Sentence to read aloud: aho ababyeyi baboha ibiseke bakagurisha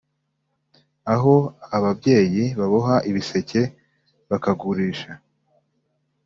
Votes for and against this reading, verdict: 2, 0, accepted